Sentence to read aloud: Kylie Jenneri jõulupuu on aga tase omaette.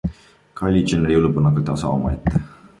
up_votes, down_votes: 2, 0